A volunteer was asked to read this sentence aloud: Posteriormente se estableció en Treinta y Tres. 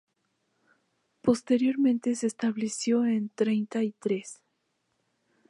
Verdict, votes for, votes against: accepted, 2, 0